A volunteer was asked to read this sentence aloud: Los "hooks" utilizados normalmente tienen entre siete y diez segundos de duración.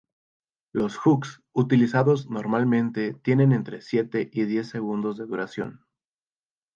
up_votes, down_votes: 2, 0